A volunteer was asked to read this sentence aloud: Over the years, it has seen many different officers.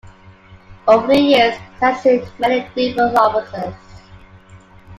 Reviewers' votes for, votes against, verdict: 0, 2, rejected